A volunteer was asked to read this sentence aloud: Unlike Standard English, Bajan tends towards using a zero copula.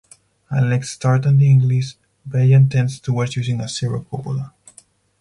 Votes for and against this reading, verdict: 2, 4, rejected